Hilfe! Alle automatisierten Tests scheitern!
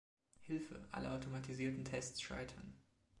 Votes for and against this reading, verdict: 2, 0, accepted